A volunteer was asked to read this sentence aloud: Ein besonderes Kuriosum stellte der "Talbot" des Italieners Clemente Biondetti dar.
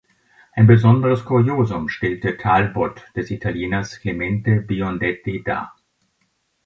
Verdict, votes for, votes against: rejected, 1, 3